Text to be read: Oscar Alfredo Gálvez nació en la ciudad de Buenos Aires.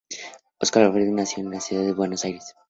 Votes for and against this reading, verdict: 0, 2, rejected